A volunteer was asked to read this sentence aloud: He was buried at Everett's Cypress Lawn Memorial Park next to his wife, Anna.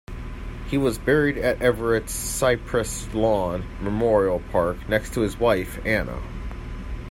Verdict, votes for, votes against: accepted, 2, 0